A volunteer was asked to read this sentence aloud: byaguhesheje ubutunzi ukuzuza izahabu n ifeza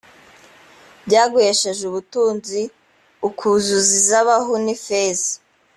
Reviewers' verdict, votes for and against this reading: accepted, 2, 1